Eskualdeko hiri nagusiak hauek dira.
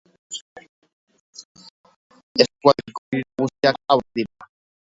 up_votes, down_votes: 1, 2